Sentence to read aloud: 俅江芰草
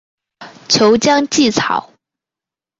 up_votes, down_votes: 2, 0